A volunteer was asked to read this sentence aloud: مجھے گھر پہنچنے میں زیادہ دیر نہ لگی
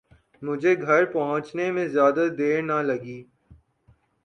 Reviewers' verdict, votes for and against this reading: accepted, 3, 0